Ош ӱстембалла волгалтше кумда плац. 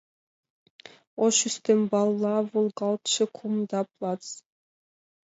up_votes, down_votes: 2, 0